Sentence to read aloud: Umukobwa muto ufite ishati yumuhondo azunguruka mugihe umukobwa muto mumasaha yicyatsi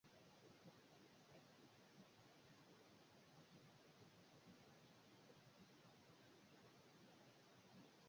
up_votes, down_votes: 0, 2